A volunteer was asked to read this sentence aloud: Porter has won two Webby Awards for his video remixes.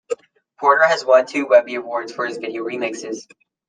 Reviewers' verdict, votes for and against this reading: accepted, 2, 0